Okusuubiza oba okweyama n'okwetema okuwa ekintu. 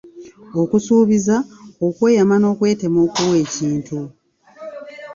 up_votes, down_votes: 1, 2